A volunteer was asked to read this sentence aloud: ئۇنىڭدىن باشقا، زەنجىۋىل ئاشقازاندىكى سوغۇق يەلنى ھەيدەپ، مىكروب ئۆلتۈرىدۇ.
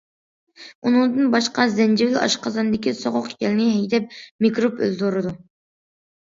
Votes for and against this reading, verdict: 2, 0, accepted